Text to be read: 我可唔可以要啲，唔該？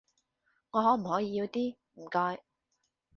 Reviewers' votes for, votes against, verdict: 2, 0, accepted